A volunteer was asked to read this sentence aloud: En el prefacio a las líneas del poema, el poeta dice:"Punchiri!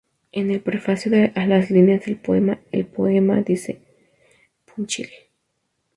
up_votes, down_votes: 0, 4